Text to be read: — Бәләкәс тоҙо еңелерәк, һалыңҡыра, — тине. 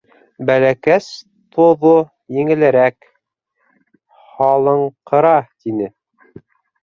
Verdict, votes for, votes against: rejected, 1, 2